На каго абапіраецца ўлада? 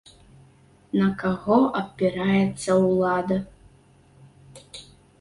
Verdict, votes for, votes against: rejected, 1, 2